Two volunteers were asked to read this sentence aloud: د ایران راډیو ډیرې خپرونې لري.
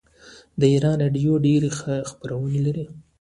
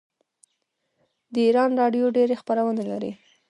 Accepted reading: first